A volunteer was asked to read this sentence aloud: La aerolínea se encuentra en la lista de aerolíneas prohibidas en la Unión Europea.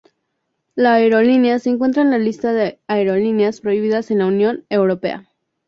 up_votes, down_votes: 2, 0